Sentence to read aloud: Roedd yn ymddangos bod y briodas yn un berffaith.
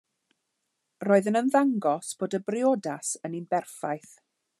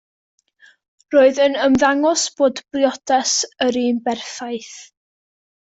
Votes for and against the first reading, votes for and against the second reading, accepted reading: 2, 0, 0, 2, first